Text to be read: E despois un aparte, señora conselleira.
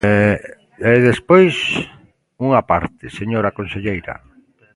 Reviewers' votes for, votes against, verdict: 0, 2, rejected